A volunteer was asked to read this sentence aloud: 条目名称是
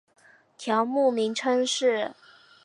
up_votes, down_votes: 4, 0